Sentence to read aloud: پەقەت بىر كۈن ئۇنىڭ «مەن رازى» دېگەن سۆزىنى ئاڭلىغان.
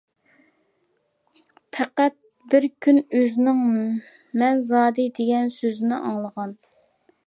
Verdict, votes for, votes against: rejected, 0, 3